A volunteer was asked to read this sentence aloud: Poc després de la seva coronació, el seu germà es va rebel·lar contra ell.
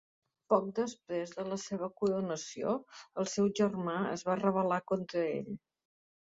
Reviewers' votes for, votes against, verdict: 2, 0, accepted